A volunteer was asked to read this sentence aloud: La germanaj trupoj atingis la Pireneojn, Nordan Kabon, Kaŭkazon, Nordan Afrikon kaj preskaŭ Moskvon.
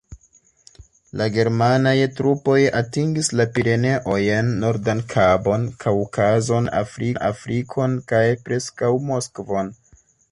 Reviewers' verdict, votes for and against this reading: rejected, 0, 2